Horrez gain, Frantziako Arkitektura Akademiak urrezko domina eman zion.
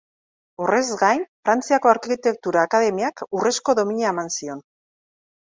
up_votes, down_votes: 2, 0